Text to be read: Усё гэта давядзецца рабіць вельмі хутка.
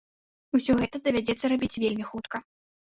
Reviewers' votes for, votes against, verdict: 0, 2, rejected